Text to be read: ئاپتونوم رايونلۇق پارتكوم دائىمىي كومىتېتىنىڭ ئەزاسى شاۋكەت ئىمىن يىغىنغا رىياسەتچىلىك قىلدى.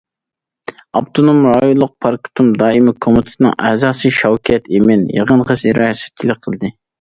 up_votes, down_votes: 1, 2